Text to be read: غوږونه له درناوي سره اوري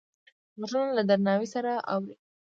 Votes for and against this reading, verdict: 0, 2, rejected